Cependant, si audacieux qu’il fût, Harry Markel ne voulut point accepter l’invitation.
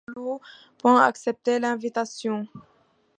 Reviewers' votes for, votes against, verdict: 1, 2, rejected